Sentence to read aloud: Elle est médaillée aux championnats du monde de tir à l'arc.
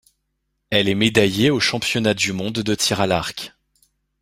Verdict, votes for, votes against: accepted, 2, 0